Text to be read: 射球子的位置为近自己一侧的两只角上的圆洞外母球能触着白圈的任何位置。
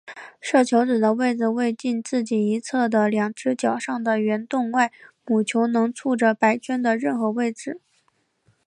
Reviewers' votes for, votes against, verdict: 3, 0, accepted